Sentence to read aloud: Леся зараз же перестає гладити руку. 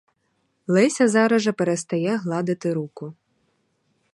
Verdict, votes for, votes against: rejected, 2, 2